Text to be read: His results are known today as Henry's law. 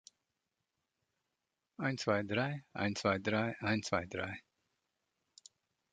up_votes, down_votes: 0, 2